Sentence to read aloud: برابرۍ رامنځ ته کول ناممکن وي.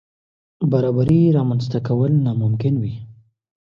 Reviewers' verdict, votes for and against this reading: accepted, 2, 0